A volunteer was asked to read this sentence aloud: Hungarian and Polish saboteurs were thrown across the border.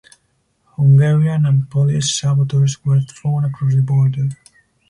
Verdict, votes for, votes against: rejected, 2, 4